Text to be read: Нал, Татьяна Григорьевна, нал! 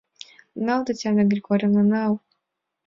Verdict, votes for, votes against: accepted, 2, 0